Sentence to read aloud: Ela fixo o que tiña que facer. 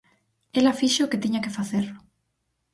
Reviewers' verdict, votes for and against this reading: accepted, 4, 0